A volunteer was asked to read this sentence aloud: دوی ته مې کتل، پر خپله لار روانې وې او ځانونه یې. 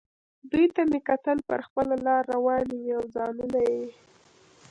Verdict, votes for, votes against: rejected, 1, 2